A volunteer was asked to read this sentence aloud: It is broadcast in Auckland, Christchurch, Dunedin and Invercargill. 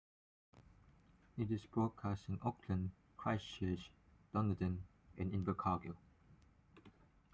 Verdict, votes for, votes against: rejected, 0, 2